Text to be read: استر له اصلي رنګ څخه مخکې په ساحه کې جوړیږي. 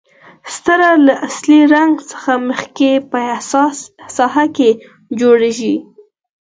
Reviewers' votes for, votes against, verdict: 2, 4, rejected